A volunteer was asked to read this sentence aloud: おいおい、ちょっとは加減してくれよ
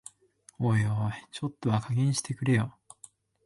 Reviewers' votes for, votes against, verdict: 2, 0, accepted